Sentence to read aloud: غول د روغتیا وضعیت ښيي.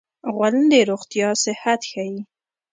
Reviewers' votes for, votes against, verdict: 0, 2, rejected